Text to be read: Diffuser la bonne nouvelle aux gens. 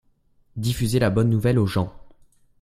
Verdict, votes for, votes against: accepted, 2, 0